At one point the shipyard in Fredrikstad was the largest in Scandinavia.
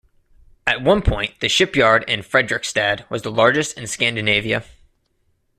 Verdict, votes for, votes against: accepted, 2, 0